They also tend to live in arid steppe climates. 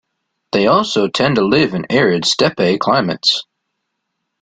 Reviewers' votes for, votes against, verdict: 2, 0, accepted